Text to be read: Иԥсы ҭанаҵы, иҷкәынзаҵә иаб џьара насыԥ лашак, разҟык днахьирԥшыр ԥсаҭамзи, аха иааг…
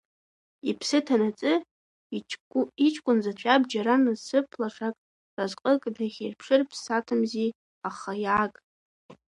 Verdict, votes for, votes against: rejected, 1, 2